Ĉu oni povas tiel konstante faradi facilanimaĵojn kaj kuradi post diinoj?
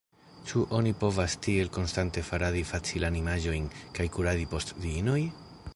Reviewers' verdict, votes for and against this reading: accepted, 2, 0